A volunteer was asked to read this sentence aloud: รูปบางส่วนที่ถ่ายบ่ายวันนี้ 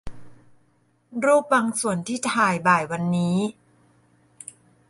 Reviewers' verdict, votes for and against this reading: accepted, 2, 0